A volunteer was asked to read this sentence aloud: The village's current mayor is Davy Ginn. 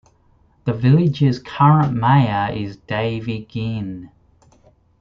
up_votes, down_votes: 2, 0